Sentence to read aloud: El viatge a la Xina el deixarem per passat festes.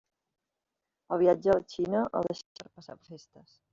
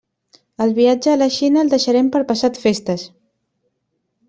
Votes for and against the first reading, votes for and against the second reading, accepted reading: 0, 2, 3, 0, second